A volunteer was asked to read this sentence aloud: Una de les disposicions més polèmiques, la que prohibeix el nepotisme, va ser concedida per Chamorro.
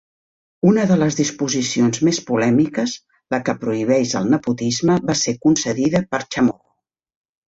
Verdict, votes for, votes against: rejected, 0, 2